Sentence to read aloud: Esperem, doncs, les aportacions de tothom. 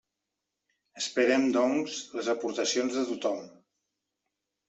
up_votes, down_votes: 3, 1